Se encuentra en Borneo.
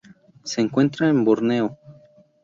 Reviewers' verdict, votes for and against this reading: accepted, 8, 0